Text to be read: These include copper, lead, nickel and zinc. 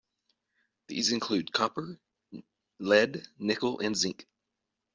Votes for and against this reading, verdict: 2, 0, accepted